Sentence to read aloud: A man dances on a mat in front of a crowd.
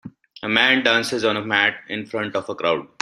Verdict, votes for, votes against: accepted, 2, 1